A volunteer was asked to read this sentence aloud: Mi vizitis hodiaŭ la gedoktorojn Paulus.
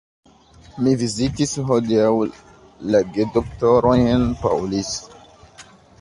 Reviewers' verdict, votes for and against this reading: rejected, 1, 2